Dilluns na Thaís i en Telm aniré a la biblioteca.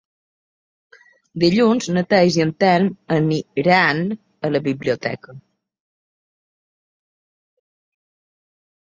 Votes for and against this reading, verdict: 1, 2, rejected